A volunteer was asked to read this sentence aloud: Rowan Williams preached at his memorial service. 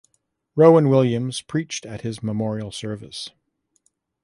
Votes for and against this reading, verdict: 2, 0, accepted